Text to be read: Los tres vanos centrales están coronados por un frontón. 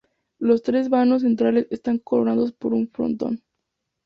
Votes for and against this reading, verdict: 2, 2, rejected